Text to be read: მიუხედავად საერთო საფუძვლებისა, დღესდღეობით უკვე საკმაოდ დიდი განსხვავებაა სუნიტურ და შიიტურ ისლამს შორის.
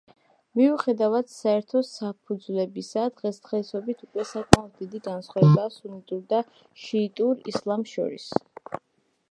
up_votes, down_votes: 1, 2